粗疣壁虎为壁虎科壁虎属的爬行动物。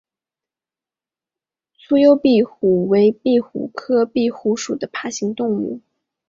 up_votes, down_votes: 2, 0